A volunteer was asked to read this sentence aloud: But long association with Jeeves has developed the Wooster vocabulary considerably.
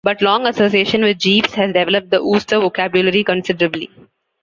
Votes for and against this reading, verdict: 1, 2, rejected